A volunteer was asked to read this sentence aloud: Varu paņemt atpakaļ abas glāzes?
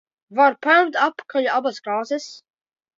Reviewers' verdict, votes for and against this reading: rejected, 0, 3